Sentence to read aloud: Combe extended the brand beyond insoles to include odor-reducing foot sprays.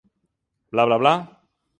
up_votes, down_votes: 0, 2